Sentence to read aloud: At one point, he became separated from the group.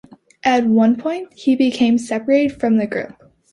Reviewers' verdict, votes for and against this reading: accepted, 2, 0